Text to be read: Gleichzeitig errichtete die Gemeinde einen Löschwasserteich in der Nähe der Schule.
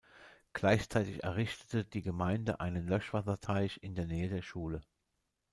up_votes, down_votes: 2, 0